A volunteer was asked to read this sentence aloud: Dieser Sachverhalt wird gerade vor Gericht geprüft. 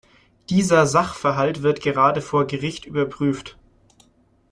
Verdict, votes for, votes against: rejected, 0, 2